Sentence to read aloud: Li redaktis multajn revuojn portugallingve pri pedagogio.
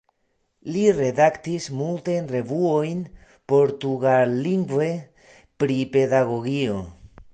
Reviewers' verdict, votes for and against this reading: rejected, 1, 2